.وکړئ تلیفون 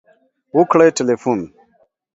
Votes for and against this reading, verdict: 2, 1, accepted